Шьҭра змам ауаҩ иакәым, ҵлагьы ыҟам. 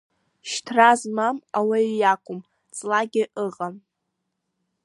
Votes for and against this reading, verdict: 2, 1, accepted